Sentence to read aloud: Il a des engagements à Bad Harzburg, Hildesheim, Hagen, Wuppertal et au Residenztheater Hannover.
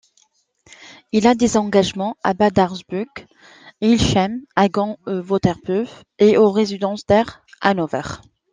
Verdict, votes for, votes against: rejected, 0, 2